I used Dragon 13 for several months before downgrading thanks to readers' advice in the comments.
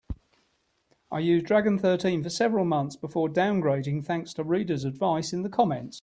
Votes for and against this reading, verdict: 0, 2, rejected